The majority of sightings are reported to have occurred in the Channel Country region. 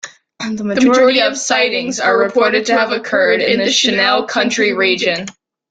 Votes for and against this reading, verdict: 1, 2, rejected